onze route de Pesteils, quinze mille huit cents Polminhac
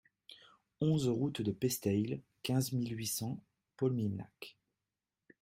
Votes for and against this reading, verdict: 2, 0, accepted